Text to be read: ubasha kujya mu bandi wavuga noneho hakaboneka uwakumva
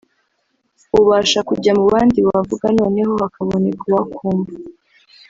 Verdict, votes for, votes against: rejected, 1, 2